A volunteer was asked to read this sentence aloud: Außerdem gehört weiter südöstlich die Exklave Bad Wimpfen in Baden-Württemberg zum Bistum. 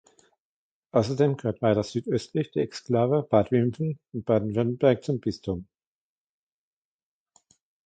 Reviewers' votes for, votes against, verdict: 1, 2, rejected